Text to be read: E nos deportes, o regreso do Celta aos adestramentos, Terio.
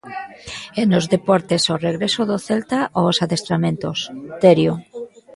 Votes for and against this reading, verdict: 1, 2, rejected